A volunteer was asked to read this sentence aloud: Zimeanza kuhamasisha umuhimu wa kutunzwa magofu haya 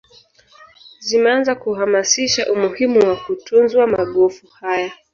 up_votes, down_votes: 0, 2